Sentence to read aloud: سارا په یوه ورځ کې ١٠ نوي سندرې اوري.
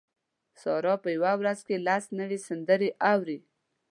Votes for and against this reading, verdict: 0, 2, rejected